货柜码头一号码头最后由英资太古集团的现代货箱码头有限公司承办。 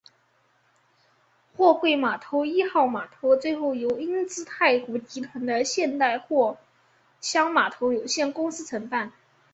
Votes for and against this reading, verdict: 3, 0, accepted